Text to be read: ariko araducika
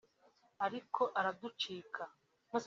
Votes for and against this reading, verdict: 4, 3, accepted